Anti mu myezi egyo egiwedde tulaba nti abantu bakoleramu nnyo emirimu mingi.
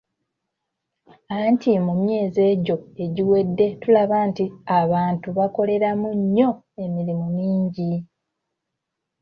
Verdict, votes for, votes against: accepted, 2, 0